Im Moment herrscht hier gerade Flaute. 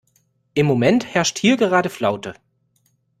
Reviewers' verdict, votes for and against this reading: accepted, 2, 0